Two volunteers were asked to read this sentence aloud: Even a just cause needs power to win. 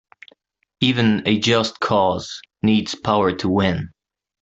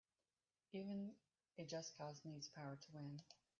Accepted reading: first